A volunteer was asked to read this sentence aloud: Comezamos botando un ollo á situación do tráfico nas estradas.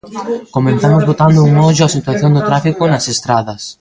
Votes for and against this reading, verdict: 1, 2, rejected